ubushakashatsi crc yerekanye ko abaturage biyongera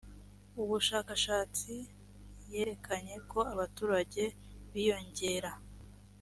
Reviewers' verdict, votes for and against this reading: rejected, 1, 2